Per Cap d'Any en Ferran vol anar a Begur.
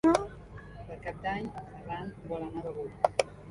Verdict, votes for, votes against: rejected, 0, 2